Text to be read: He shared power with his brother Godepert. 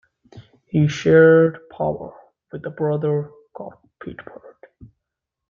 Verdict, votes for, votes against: rejected, 0, 2